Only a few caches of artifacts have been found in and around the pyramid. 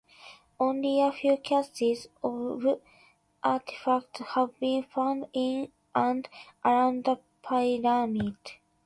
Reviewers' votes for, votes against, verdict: 0, 2, rejected